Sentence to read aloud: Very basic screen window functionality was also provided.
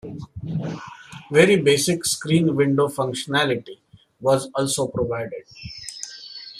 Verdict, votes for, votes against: accepted, 2, 0